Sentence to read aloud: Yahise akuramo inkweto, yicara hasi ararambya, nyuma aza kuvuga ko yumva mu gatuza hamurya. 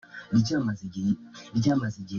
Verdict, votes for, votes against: rejected, 0, 2